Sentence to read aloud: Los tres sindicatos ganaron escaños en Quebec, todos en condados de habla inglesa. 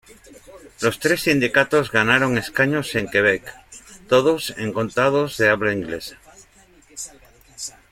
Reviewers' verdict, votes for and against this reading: rejected, 0, 2